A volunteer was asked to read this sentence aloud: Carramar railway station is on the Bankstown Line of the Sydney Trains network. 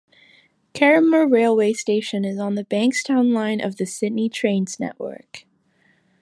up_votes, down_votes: 2, 0